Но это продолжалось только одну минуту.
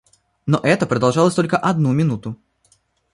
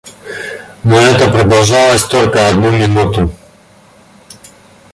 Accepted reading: first